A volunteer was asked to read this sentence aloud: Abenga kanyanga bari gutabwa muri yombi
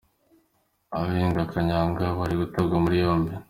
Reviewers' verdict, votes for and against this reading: accepted, 2, 0